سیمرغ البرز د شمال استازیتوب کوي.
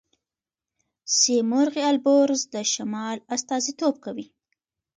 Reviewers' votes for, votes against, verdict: 2, 1, accepted